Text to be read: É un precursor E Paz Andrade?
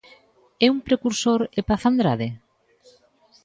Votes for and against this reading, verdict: 2, 0, accepted